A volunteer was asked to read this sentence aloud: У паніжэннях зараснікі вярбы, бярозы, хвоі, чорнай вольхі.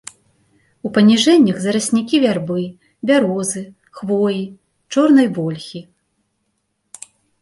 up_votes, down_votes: 1, 2